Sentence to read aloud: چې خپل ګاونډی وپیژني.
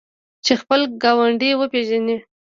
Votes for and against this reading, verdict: 0, 2, rejected